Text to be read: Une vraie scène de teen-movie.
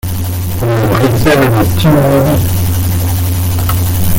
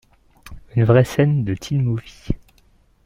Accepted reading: second